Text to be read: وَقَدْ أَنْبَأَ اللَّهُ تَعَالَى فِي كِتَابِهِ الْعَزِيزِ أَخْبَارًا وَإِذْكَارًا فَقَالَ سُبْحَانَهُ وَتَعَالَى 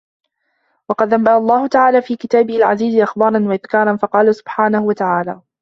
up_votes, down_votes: 2, 0